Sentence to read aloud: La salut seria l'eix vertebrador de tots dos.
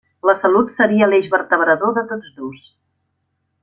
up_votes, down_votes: 3, 0